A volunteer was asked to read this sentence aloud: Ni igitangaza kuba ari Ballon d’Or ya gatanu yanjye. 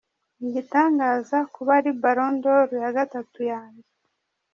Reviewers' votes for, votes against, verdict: 0, 2, rejected